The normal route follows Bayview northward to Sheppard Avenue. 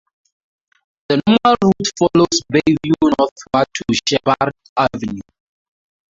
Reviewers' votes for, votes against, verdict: 0, 4, rejected